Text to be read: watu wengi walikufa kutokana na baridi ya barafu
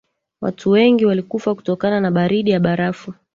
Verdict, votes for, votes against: rejected, 2, 3